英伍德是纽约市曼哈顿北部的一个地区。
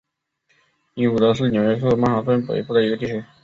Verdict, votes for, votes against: rejected, 2, 4